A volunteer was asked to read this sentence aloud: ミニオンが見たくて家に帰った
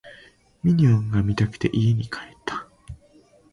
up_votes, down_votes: 3, 0